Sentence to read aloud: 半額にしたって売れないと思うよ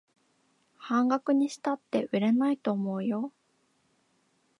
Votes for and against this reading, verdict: 2, 0, accepted